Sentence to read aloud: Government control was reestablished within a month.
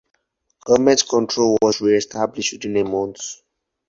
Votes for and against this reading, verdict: 0, 4, rejected